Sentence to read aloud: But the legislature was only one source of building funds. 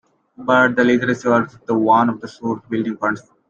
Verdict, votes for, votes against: rejected, 0, 2